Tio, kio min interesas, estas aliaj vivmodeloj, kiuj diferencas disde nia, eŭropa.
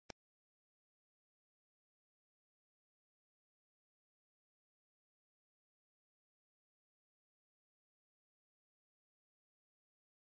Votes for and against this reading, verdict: 1, 2, rejected